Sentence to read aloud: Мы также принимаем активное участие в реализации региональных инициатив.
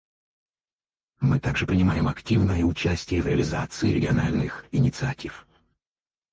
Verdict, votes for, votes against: rejected, 0, 4